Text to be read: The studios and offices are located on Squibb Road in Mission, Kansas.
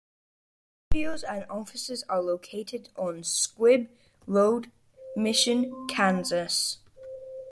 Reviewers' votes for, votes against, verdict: 1, 2, rejected